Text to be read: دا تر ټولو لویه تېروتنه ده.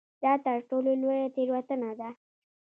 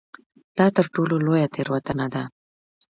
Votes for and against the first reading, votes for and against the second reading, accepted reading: 0, 2, 2, 0, second